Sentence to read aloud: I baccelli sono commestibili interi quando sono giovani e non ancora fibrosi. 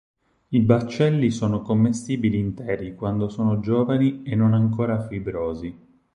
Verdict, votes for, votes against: accepted, 4, 0